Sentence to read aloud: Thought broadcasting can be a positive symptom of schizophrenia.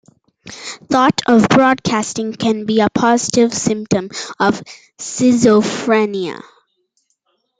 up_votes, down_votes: 0, 2